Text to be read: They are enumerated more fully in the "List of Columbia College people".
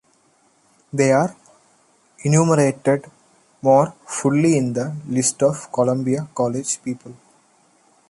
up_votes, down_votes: 0, 2